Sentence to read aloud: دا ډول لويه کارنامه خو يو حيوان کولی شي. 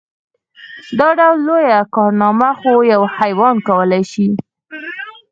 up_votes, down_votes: 4, 0